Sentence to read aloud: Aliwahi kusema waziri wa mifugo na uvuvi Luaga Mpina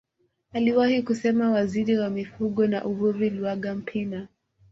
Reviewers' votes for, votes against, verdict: 2, 0, accepted